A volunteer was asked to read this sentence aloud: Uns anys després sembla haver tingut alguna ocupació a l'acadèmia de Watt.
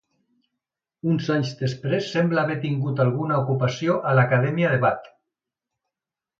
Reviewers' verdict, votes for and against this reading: accepted, 2, 0